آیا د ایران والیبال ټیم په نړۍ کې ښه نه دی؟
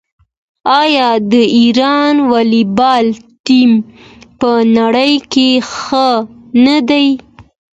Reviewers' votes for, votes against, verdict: 2, 0, accepted